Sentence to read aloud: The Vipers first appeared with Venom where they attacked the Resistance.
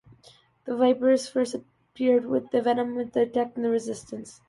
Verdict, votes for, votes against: rejected, 1, 2